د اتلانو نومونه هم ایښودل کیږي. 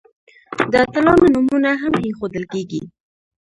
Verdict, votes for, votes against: accepted, 2, 0